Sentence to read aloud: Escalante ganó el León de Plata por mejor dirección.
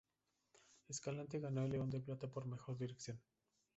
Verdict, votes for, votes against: rejected, 0, 2